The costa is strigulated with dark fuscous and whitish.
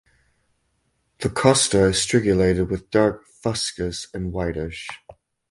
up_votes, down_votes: 4, 0